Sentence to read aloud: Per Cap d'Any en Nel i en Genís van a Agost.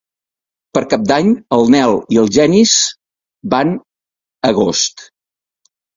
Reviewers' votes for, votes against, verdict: 0, 4, rejected